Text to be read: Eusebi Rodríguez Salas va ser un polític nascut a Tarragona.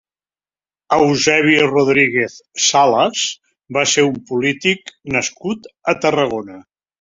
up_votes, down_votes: 2, 0